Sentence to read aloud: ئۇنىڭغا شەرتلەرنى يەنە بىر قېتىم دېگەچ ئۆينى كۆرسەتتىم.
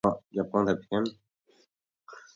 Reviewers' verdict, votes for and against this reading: rejected, 0, 2